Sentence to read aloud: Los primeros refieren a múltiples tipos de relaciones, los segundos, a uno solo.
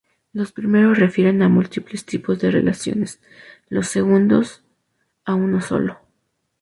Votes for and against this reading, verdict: 2, 0, accepted